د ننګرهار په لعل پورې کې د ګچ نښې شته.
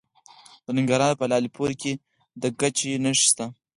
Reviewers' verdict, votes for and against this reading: accepted, 4, 0